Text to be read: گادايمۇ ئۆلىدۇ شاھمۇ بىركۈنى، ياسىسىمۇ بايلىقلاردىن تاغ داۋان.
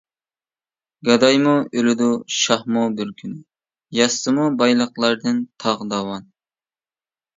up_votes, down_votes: 1, 2